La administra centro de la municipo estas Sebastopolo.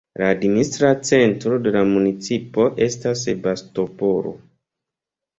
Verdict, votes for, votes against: accepted, 2, 0